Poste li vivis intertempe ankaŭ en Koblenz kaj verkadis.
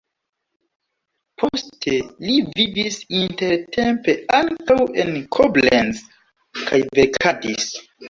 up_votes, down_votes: 1, 2